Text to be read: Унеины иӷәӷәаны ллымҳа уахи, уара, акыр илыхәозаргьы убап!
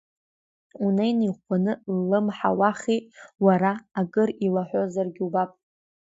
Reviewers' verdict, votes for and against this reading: rejected, 0, 2